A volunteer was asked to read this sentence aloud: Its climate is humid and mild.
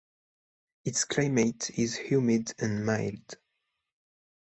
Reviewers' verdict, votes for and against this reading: accepted, 2, 0